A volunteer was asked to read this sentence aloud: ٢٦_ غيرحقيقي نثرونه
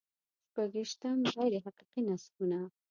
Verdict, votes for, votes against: rejected, 0, 2